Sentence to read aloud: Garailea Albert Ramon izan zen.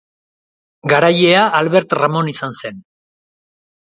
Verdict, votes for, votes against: accepted, 2, 0